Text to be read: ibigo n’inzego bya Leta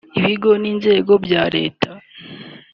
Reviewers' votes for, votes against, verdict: 3, 0, accepted